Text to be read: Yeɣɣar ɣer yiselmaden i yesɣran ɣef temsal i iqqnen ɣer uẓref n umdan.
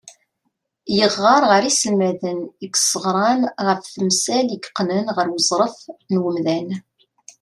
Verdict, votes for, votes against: accepted, 2, 0